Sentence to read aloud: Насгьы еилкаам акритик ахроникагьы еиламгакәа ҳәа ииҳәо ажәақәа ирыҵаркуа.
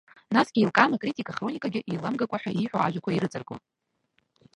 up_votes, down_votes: 0, 2